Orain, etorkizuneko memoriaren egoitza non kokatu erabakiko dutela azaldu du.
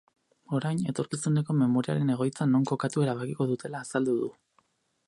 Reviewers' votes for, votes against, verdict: 2, 2, rejected